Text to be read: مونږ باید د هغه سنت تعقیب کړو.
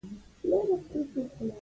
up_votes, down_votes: 2, 1